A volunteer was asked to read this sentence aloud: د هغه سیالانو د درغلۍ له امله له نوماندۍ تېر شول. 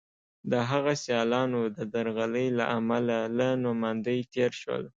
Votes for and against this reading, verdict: 2, 0, accepted